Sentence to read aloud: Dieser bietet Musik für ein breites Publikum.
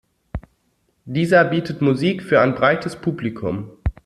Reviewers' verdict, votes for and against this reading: accepted, 2, 0